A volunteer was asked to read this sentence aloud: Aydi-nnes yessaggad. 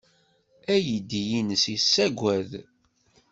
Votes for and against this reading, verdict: 1, 2, rejected